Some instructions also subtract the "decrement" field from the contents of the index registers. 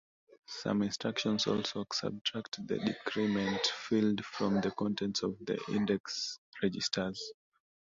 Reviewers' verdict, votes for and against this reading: accepted, 2, 1